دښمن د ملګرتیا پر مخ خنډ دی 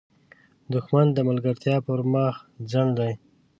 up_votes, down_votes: 1, 2